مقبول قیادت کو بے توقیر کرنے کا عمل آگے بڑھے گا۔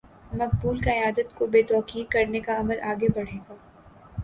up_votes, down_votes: 5, 0